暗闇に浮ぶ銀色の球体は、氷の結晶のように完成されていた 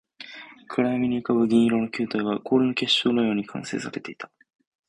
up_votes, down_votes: 0, 2